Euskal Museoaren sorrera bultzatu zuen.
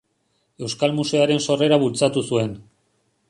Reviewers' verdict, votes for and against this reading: accepted, 5, 0